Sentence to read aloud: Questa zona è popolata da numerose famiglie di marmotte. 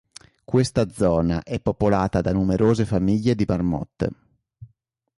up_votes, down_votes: 3, 0